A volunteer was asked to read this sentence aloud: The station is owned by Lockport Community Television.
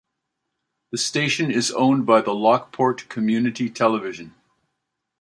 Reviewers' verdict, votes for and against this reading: accepted, 2, 1